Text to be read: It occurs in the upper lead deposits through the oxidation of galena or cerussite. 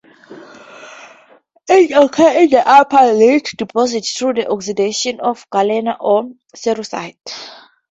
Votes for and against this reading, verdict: 0, 2, rejected